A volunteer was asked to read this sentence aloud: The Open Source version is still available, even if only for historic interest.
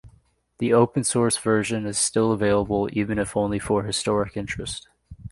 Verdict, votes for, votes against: accepted, 2, 0